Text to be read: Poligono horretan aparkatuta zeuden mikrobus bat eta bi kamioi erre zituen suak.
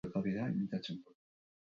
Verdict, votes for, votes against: rejected, 0, 4